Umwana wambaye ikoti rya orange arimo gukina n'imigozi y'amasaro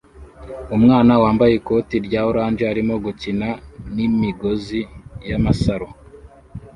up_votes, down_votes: 2, 0